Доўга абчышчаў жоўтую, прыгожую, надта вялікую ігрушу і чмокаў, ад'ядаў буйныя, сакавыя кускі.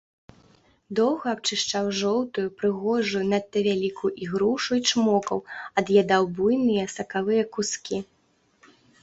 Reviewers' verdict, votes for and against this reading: rejected, 0, 2